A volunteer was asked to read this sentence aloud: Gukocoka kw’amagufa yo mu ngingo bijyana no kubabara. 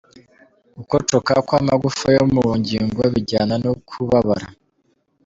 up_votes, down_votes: 2, 0